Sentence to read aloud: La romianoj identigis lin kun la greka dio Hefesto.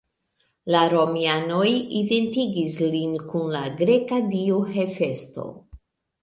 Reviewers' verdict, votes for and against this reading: rejected, 1, 2